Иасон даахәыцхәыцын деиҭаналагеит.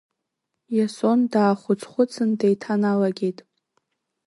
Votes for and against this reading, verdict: 2, 0, accepted